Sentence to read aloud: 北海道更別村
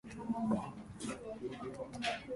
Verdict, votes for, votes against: rejected, 0, 4